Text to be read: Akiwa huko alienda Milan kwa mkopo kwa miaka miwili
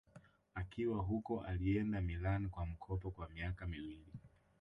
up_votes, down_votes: 1, 2